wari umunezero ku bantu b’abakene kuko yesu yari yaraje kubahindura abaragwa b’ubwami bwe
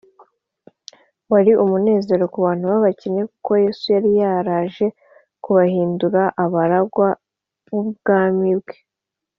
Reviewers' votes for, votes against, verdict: 2, 0, accepted